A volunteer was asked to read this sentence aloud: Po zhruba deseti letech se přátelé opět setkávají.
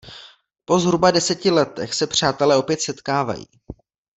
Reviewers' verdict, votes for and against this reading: accepted, 2, 0